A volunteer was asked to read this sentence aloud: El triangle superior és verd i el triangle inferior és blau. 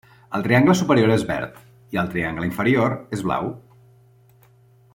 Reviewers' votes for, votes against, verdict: 3, 0, accepted